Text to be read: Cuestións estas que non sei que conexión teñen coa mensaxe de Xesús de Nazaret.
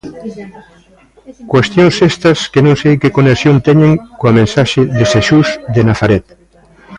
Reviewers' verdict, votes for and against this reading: accepted, 2, 0